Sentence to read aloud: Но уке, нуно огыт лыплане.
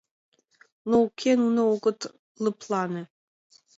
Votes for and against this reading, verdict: 2, 0, accepted